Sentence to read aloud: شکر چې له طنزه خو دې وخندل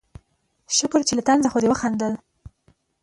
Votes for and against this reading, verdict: 2, 1, accepted